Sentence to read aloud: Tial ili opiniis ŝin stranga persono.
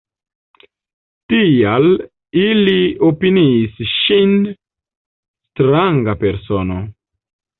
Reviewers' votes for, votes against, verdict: 0, 2, rejected